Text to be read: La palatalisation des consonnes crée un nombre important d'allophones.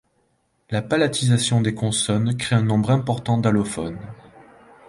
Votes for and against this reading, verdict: 0, 2, rejected